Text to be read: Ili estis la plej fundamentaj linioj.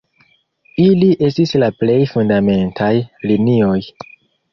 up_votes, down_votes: 1, 2